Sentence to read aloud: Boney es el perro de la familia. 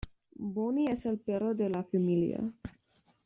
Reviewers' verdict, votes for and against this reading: accepted, 2, 0